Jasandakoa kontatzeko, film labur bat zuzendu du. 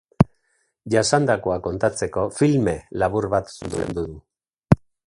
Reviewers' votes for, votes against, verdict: 0, 2, rejected